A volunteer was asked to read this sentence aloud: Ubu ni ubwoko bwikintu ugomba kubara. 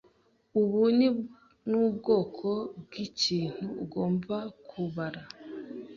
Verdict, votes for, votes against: rejected, 1, 2